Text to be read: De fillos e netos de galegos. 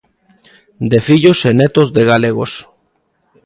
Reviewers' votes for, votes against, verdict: 2, 0, accepted